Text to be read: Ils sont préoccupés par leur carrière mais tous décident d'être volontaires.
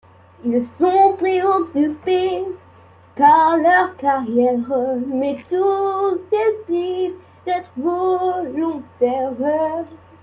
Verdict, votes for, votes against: rejected, 0, 2